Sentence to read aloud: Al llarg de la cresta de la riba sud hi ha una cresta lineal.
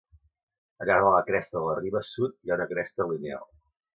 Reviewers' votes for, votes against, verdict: 2, 0, accepted